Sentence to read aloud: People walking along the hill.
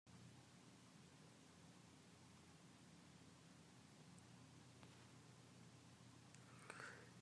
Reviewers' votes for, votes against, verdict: 0, 4, rejected